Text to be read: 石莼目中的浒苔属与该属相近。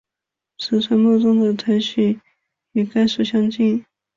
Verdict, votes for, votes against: accepted, 3, 1